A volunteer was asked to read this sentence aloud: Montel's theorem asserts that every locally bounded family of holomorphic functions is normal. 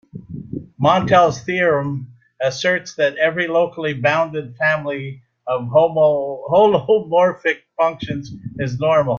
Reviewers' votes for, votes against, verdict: 0, 2, rejected